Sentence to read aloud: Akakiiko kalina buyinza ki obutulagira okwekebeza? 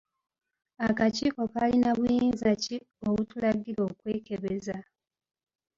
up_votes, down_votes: 2, 0